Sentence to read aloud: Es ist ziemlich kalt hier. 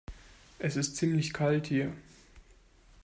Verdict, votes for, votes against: accepted, 2, 0